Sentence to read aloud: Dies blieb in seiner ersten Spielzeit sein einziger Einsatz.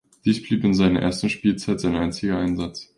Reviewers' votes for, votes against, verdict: 2, 0, accepted